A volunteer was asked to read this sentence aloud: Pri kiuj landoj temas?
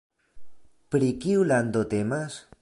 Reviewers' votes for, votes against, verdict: 1, 2, rejected